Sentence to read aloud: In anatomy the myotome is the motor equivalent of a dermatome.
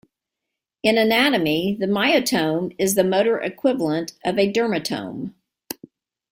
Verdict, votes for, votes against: accepted, 2, 0